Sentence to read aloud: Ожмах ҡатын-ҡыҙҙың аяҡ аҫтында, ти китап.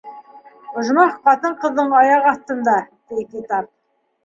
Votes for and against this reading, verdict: 1, 2, rejected